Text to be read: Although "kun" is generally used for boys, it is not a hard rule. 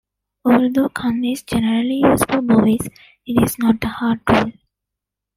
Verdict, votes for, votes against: rejected, 1, 2